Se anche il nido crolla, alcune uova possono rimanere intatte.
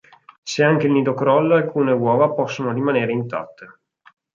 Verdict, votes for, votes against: accepted, 4, 0